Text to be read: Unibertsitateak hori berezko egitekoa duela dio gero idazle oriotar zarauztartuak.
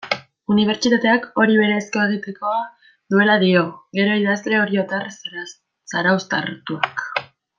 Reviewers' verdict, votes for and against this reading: rejected, 0, 2